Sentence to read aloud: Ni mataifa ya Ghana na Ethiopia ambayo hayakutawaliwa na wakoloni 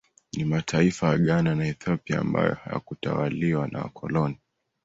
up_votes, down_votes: 2, 0